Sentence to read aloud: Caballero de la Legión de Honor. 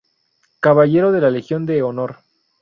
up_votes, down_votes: 4, 0